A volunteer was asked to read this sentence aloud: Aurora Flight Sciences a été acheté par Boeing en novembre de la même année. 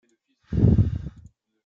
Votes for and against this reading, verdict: 0, 2, rejected